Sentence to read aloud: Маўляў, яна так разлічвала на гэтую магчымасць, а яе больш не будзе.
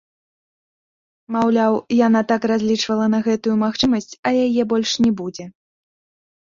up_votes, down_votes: 0, 2